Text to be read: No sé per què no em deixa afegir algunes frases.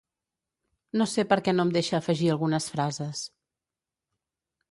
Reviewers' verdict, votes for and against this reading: accepted, 2, 0